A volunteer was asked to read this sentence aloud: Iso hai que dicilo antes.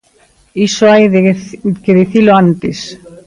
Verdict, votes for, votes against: rejected, 0, 2